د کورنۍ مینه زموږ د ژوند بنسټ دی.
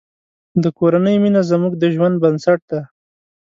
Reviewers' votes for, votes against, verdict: 3, 0, accepted